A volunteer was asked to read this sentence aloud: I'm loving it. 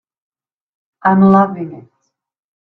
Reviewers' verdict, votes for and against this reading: rejected, 1, 2